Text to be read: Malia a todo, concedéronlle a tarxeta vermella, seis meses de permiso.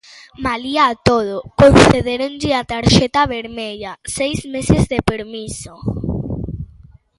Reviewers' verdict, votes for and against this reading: accepted, 2, 1